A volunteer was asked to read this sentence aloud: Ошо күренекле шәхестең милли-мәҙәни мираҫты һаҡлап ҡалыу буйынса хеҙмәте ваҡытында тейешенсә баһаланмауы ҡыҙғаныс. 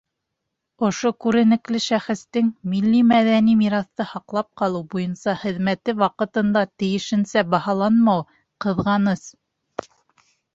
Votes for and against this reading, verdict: 2, 0, accepted